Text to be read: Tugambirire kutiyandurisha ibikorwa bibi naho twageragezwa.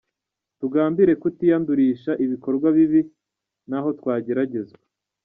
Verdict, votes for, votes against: rejected, 1, 2